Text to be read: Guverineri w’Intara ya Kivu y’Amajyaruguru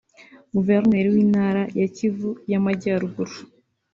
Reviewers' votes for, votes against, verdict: 2, 0, accepted